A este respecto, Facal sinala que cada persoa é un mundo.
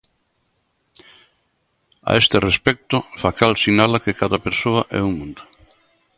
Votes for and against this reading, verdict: 2, 0, accepted